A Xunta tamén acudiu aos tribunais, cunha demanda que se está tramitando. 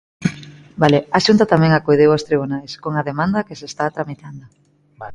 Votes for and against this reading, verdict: 0, 2, rejected